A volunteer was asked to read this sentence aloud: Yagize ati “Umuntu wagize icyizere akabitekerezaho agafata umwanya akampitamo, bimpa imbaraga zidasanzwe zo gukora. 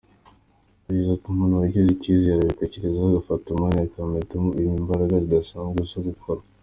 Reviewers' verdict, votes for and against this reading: rejected, 1, 2